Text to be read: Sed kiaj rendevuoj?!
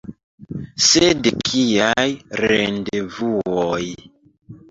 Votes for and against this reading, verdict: 2, 1, accepted